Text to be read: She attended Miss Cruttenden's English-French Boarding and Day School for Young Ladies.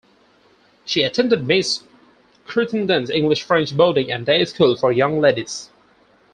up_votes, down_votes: 0, 4